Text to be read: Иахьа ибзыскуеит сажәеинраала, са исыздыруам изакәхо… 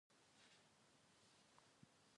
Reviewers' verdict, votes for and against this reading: rejected, 0, 2